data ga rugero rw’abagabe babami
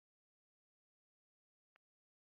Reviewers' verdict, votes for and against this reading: rejected, 1, 2